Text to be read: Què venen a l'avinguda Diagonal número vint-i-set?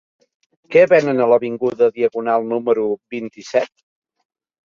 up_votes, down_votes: 6, 0